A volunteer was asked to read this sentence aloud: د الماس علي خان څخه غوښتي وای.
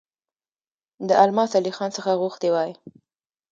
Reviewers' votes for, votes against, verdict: 1, 2, rejected